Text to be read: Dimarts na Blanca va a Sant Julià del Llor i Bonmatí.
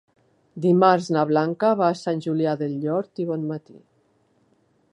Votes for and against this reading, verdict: 1, 2, rejected